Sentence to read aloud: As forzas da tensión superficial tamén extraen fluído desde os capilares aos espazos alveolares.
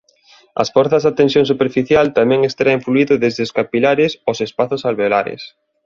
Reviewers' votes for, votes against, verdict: 2, 0, accepted